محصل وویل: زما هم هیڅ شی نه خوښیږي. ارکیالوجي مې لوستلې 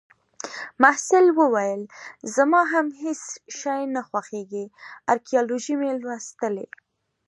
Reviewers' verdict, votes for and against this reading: accepted, 2, 1